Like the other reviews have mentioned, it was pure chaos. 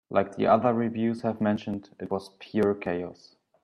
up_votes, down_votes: 3, 0